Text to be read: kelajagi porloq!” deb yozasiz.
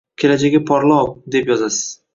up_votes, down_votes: 2, 1